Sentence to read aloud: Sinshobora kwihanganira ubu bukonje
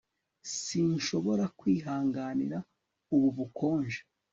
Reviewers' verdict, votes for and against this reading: accepted, 4, 0